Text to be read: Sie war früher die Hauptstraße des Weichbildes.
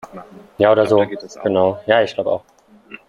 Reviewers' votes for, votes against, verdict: 0, 2, rejected